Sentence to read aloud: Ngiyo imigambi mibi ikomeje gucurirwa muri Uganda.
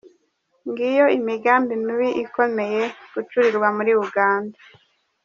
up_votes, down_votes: 1, 2